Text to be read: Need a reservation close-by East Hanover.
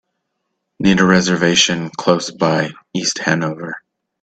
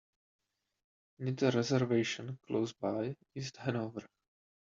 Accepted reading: first